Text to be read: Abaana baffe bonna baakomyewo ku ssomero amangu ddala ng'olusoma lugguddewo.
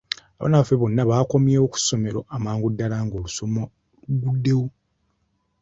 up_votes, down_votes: 2, 0